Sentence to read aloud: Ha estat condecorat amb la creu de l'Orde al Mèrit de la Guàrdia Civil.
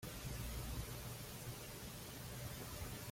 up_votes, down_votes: 2, 1